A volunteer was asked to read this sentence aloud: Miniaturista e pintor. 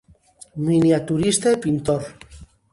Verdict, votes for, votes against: accepted, 2, 0